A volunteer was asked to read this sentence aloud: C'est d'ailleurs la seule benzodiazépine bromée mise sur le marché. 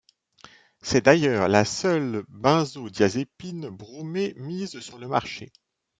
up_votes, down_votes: 2, 1